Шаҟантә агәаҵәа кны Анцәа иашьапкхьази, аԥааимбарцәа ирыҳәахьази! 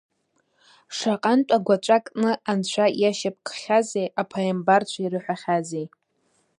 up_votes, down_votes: 0, 2